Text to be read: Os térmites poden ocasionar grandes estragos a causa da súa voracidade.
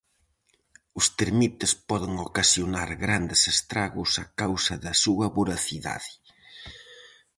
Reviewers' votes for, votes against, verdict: 0, 4, rejected